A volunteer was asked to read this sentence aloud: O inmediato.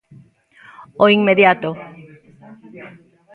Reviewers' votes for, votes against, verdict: 2, 0, accepted